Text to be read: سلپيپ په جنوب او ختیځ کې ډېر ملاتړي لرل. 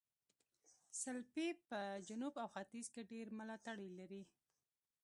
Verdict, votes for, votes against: rejected, 0, 2